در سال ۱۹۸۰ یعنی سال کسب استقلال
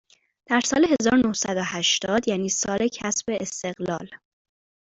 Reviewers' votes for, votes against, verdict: 0, 2, rejected